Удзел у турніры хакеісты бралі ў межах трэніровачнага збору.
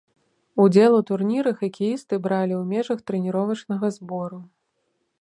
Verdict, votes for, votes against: accepted, 2, 0